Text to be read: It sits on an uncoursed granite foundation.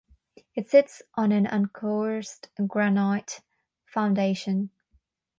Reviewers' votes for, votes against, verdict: 3, 3, rejected